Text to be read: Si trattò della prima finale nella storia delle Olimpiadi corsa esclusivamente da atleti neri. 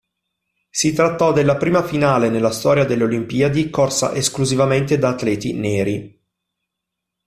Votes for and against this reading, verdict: 2, 0, accepted